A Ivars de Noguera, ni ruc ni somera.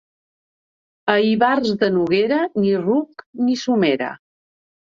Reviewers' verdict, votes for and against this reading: accepted, 2, 0